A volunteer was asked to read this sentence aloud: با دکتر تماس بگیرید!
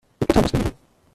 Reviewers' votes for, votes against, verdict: 1, 2, rejected